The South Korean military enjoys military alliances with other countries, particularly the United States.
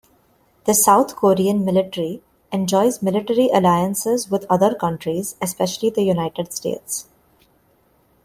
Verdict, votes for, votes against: rejected, 0, 2